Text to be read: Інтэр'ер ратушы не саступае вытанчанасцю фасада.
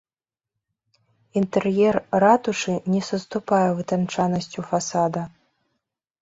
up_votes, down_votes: 0, 2